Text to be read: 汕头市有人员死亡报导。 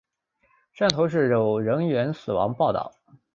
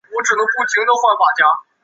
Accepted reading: first